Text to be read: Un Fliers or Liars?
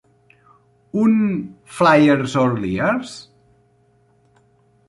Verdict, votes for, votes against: rejected, 0, 2